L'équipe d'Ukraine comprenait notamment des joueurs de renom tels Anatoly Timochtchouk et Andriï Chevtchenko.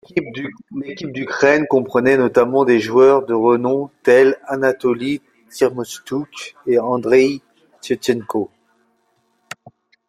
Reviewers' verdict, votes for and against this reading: rejected, 0, 2